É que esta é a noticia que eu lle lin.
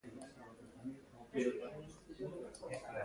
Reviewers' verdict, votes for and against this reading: rejected, 0, 2